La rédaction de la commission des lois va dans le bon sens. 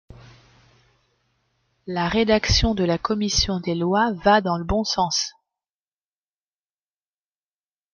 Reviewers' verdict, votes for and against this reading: accepted, 2, 0